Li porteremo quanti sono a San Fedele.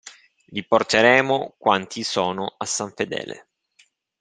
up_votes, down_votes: 2, 0